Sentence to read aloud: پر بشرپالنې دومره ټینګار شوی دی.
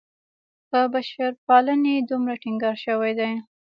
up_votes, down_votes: 1, 2